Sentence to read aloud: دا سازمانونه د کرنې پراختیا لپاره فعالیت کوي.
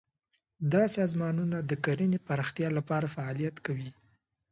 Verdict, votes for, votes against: accepted, 2, 1